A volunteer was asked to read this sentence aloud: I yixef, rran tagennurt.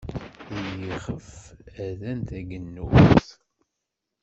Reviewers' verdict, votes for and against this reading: rejected, 0, 2